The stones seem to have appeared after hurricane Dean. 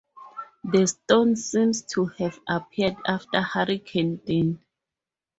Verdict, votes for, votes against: rejected, 0, 2